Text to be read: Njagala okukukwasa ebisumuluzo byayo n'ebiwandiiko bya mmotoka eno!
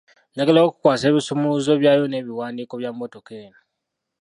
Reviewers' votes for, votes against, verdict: 1, 2, rejected